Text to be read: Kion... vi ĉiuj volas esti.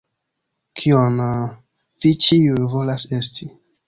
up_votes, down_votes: 1, 2